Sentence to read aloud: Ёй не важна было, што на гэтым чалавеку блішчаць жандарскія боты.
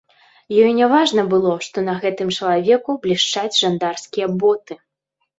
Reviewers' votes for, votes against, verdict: 2, 0, accepted